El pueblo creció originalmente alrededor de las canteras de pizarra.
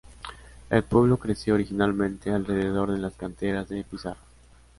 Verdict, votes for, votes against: accepted, 2, 1